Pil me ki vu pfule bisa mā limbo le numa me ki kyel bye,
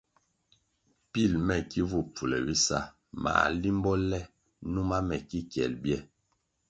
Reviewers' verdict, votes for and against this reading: accepted, 2, 0